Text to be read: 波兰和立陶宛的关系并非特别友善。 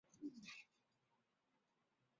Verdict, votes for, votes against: rejected, 0, 3